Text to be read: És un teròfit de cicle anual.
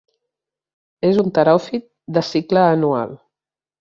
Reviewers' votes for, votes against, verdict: 3, 0, accepted